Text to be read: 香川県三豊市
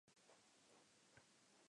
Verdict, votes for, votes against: rejected, 0, 3